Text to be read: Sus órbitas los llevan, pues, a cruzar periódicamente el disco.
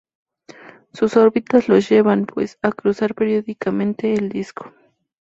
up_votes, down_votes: 2, 0